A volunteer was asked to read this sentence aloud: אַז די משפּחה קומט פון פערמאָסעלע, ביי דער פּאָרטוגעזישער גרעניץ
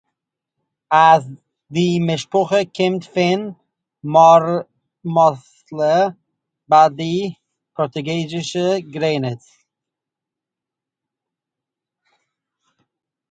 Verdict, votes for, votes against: rejected, 0, 2